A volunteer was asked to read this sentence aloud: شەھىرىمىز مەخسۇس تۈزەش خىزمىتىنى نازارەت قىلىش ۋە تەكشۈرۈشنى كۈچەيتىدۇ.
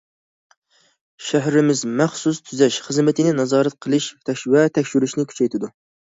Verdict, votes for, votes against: rejected, 0, 2